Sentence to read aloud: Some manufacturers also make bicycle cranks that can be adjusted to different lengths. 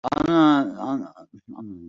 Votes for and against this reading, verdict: 0, 2, rejected